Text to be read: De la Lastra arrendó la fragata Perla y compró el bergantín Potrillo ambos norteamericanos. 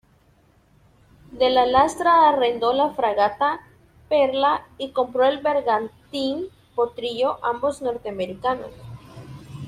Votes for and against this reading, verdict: 2, 0, accepted